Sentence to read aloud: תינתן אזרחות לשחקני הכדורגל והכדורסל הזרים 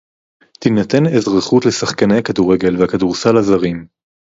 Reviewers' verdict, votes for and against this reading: accepted, 4, 0